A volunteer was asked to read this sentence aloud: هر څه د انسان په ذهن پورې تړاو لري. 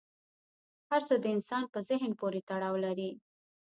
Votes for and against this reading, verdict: 1, 2, rejected